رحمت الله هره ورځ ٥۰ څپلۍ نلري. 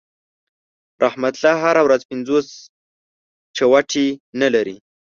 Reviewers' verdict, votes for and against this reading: rejected, 0, 2